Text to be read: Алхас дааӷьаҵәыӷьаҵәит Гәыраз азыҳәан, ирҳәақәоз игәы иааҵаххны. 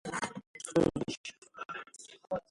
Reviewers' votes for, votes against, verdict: 0, 2, rejected